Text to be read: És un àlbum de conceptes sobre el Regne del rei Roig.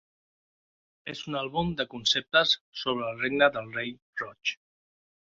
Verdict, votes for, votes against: rejected, 1, 2